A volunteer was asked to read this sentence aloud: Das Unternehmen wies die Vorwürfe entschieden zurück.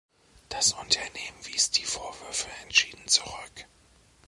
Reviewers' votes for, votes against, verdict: 2, 0, accepted